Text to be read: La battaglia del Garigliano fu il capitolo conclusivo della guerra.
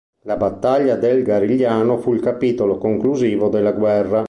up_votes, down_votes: 2, 0